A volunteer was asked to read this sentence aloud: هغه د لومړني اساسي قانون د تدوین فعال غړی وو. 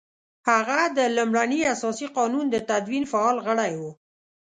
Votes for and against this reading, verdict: 2, 0, accepted